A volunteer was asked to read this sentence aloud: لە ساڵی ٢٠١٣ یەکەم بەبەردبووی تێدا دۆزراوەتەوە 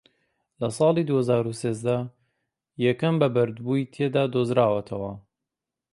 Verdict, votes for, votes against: rejected, 0, 2